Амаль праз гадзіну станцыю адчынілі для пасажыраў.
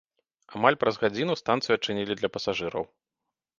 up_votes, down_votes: 2, 0